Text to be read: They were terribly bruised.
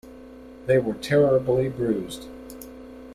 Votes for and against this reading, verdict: 2, 0, accepted